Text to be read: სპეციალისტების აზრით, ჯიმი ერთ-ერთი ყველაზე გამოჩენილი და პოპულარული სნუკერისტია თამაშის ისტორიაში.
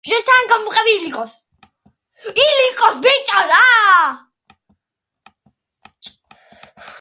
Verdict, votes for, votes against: rejected, 0, 2